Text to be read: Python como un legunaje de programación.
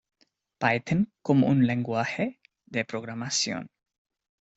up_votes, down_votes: 2, 1